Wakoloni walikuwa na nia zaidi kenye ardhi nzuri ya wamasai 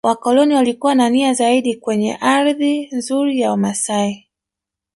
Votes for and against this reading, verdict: 2, 1, accepted